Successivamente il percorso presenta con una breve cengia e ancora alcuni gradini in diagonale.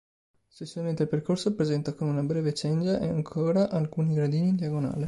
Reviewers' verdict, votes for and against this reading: rejected, 1, 2